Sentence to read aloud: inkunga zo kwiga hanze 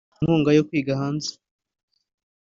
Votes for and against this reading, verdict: 1, 2, rejected